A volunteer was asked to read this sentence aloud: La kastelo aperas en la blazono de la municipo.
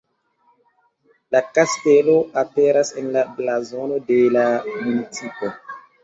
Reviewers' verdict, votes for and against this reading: accepted, 2, 1